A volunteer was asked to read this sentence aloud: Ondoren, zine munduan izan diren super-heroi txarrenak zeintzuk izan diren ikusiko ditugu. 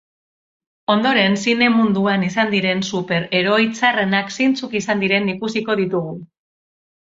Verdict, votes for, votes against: accepted, 2, 0